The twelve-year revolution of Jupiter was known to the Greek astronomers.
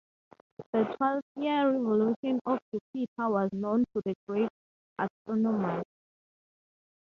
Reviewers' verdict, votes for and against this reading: rejected, 0, 6